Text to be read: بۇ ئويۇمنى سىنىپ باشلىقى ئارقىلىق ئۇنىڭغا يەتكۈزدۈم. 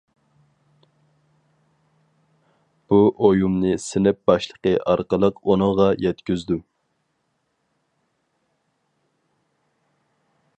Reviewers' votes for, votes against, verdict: 4, 0, accepted